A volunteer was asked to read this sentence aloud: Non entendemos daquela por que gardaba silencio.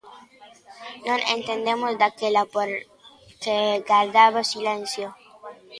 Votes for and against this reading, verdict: 2, 1, accepted